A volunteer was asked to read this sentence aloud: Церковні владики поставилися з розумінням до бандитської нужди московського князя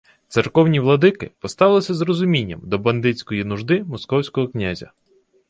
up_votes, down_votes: 2, 0